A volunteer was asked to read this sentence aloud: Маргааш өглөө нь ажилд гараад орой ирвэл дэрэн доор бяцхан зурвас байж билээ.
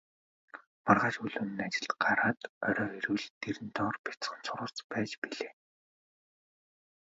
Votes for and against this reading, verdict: 1, 2, rejected